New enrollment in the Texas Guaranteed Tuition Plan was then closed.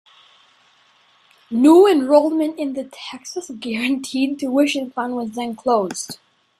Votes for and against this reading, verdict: 2, 0, accepted